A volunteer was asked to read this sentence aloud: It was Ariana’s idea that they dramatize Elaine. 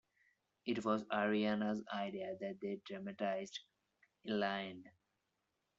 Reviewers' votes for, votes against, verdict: 1, 2, rejected